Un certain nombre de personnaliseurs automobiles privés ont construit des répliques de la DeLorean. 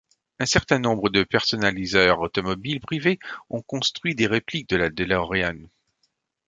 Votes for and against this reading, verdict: 2, 0, accepted